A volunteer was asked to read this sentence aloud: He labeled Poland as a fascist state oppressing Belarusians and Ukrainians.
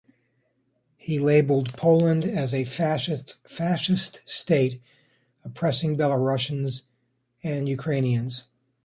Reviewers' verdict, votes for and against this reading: rejected, 1, 2